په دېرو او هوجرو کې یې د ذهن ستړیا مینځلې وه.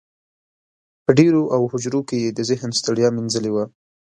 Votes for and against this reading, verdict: 1, 2, rejected